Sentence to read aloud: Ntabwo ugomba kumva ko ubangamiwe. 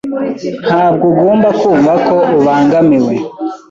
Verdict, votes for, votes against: accepted, 2, 0